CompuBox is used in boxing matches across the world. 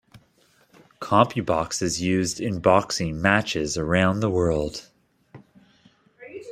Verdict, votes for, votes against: rejected, 0, 2